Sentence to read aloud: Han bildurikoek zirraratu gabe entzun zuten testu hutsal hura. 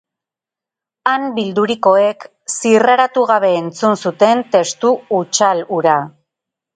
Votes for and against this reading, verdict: 4, 0, accepted